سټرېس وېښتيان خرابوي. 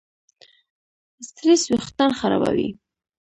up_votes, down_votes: 1, 2